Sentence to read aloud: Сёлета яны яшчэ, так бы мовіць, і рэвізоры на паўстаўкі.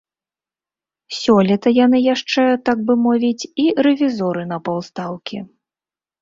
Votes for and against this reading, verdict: 2, 0, accepted